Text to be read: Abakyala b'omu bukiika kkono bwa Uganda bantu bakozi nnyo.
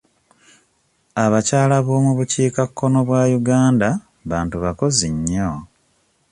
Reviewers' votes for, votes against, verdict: 2, 0, accepted